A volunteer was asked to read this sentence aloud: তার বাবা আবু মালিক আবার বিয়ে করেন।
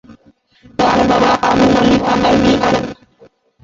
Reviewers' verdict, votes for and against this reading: rejected, 0, 4